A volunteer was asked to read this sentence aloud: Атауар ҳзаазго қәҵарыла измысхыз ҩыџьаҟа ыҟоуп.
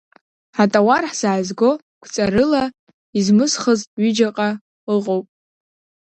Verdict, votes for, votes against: accepted, 2, 0